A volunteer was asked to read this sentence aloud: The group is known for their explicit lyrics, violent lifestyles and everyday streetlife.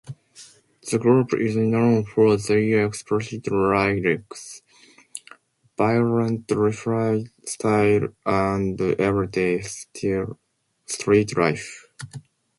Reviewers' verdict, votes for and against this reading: rejected, 0, 2